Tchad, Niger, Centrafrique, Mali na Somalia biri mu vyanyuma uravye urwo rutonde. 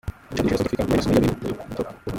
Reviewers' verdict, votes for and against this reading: rejected, 0, 2